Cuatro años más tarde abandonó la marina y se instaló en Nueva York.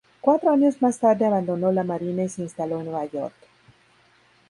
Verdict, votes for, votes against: accepted, 4, 0